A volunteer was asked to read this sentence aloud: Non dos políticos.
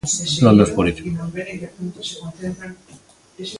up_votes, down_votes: 0, 2